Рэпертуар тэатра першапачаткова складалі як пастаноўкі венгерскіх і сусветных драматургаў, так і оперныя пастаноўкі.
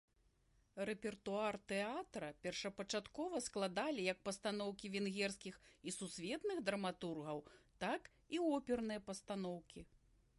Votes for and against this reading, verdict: 0, 2, rejected